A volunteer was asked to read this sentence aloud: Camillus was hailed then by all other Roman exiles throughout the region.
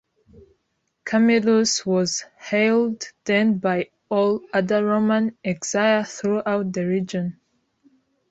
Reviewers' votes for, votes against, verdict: 2, 0, accepted